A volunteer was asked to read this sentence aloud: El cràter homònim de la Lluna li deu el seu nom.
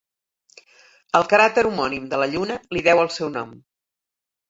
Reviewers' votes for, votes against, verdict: 7, 0, accepted